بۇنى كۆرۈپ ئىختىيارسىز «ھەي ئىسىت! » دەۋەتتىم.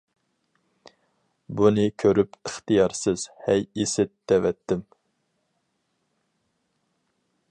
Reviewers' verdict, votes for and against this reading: accepted, 4, 0